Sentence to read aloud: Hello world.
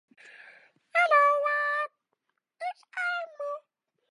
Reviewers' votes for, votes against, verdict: 0, 2, rejected